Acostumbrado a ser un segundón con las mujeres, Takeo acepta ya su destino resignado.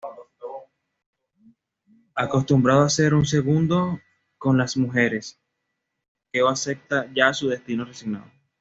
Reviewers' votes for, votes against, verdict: 1, 2, rejected